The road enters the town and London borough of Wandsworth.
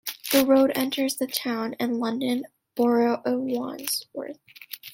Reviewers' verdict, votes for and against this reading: accepted, 2, 0